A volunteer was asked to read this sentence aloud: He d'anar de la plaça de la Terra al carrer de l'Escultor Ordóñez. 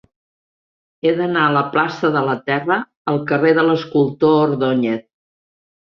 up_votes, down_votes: 0, 2